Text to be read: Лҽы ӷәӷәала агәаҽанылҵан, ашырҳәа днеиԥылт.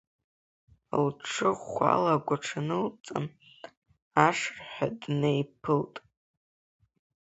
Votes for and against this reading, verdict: 2, 0, accepted